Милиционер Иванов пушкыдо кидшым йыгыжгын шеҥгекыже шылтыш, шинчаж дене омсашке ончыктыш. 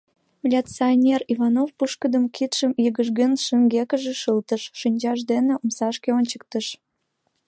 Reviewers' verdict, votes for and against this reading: accepted, 2, 0